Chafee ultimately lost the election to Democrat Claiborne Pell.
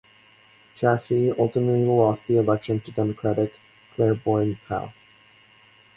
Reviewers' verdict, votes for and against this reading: accepted, 4, 2